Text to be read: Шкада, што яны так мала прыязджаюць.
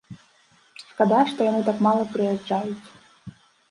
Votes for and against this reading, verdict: 2, 0, accepted